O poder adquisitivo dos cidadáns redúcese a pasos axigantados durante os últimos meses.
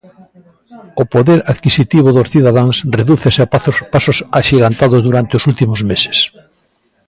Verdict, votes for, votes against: rejected, 0, 2